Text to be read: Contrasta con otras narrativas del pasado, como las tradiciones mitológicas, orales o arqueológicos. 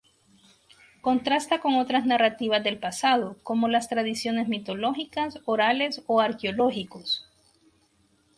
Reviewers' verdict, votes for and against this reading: accepted, 2, 0